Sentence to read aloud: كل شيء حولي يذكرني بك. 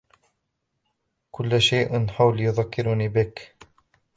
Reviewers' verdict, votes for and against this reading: rejected, 2, 3